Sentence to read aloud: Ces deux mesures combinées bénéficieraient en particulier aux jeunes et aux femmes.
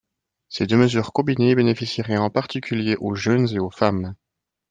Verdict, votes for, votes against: rejected, 0, 2